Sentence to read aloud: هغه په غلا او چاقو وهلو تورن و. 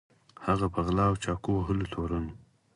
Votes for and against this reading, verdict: 4, 2, accepted